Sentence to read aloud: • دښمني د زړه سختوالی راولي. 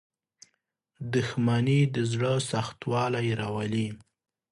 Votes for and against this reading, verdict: 0, 2, rejected